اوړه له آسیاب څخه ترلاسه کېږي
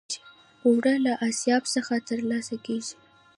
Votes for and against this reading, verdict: 1, 2, rejected